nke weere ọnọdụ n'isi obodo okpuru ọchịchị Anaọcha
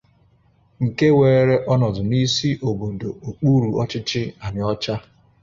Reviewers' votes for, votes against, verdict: 2, 0, accepted